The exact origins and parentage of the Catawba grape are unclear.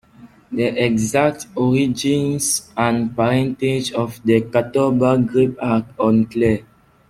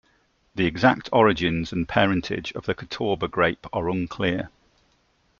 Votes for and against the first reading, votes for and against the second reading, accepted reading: 1, 2, 2, 0, second